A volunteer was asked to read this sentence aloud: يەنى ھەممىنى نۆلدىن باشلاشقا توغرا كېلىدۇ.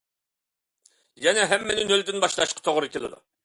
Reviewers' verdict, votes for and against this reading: accepted, 2, 0